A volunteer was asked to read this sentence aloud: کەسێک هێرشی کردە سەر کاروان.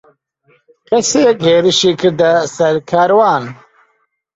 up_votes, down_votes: 2, 0